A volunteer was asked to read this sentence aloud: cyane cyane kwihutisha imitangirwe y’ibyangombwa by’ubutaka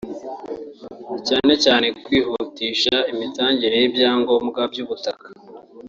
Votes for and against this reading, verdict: 0, 2, rejected